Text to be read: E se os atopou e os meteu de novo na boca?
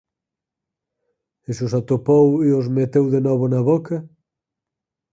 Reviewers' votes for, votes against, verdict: 4, 0, accepted